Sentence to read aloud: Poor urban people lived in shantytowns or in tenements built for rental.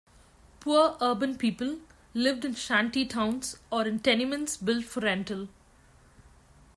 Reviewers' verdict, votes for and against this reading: accepted, 2, 0